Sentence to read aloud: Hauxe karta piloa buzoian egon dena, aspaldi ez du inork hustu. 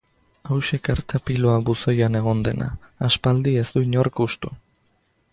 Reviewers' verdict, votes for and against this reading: accepted, 2, 0